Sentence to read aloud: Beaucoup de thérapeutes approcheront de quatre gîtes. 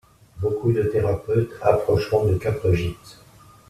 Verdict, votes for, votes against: accepted, 2, 0